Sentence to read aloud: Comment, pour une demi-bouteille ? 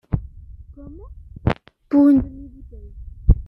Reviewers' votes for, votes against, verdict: 0, 2, rejected